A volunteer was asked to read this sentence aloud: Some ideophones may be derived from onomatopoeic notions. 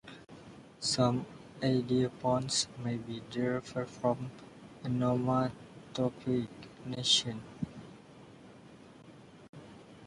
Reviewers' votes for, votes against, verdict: 0, 2, rejected